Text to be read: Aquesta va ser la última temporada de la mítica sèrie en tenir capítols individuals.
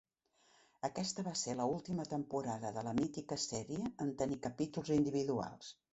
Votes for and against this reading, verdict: 3, 0, accepted